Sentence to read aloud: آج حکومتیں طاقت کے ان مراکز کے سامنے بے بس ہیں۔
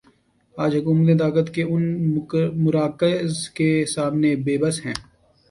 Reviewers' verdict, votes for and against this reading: accepted, 2, 0